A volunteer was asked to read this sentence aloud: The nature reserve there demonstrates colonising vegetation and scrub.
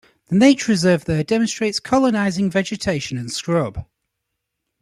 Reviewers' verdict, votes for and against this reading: rejected, 1, 2